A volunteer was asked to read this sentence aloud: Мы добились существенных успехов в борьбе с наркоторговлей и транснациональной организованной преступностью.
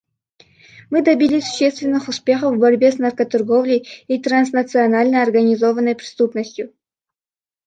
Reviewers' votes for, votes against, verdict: 2, 0, accepted